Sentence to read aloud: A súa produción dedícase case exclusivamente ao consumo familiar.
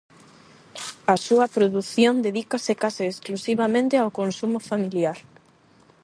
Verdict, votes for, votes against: accepted, 8, 0